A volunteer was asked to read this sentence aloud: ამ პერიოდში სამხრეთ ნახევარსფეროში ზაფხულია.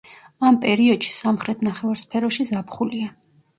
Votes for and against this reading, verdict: 2, 0, accepted